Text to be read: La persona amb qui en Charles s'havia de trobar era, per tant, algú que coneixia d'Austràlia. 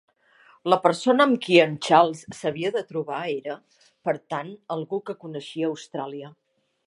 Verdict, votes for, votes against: rejected, 0, 2